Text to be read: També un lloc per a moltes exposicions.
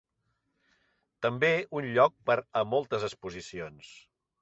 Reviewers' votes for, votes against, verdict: 3, 0, accepted